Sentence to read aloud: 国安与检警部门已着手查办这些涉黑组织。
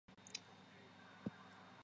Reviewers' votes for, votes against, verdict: 0, 5, rejected